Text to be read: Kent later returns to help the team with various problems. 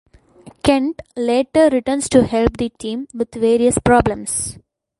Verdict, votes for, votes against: accepted, 2, 1